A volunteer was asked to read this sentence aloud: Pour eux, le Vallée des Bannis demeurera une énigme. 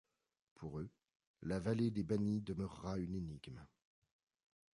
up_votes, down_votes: 1, 2